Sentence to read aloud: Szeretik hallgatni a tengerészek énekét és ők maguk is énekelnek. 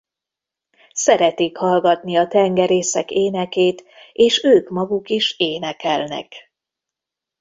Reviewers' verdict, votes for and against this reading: accepted, 2, 0